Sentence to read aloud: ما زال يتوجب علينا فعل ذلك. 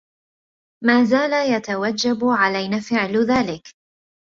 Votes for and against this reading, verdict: 2, 0, accepted